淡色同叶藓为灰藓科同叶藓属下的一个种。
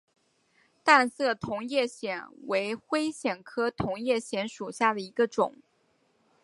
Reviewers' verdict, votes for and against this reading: accepted, 3, 0